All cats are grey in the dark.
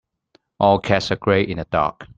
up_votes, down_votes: 2, 0